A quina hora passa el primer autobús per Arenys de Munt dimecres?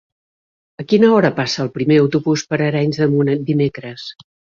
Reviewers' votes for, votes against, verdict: 1, 2, rejected